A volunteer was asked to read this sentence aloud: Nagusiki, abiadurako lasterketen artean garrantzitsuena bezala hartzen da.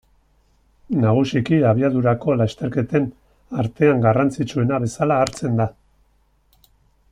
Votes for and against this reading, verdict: 2, 0, accepted